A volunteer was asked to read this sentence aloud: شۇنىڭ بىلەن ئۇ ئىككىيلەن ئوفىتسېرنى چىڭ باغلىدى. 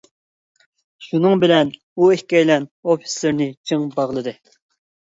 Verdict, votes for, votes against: accepted, 2, 0